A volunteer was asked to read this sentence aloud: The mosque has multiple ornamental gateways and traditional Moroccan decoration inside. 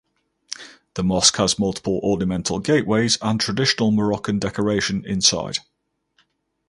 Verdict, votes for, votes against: accepted, 4, 0